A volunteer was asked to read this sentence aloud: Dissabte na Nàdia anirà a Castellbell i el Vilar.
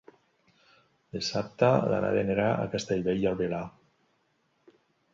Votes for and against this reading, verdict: 1, 2, rejected